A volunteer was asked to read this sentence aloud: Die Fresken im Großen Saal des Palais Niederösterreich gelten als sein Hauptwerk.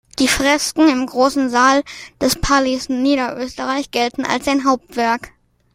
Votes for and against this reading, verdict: 2, 0, accepted